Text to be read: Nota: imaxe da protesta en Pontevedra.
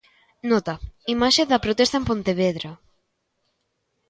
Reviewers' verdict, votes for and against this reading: accepted, 2, 0